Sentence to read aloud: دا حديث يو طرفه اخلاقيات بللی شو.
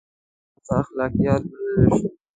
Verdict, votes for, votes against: rejected, 0, 2